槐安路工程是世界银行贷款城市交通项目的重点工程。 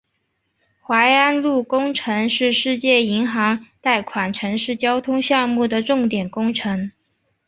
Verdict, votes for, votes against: accepted, 2, 0